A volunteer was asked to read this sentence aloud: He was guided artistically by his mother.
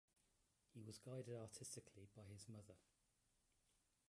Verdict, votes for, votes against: rejected, 0, 2